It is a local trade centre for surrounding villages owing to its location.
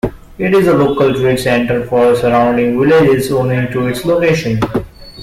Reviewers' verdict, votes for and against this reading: rejected, 1, 2